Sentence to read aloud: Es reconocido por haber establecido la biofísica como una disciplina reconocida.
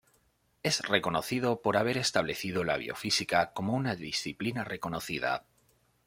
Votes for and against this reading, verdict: 2, 0, accepted